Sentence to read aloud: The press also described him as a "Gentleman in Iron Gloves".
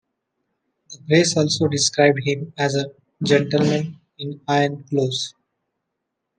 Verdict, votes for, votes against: rejected, 1, 2